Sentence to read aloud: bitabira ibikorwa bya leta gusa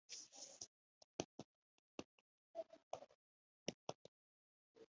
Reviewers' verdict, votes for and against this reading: rejected, 1, 5